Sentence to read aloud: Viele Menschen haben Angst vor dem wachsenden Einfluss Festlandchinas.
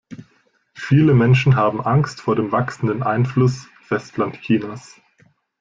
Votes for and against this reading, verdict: 2, 0, accepted